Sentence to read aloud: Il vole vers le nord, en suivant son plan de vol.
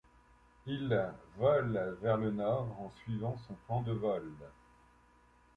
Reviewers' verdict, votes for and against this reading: accepted, 2, 0